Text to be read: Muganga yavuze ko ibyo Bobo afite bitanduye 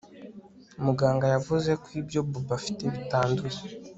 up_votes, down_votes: 2, 0